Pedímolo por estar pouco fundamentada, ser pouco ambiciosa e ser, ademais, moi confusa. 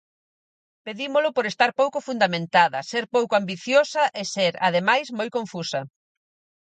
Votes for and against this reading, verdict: 4, 0, accepted